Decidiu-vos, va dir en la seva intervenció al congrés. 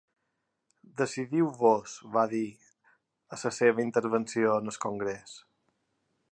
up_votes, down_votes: 0, 2